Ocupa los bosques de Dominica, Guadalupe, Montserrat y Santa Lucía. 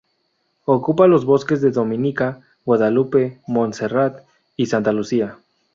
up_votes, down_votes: 2, 0